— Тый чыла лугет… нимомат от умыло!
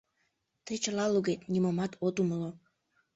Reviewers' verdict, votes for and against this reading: accepted, 2, 0